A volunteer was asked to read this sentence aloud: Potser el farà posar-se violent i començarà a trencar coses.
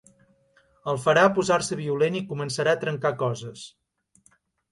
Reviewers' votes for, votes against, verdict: 0, 2, rejected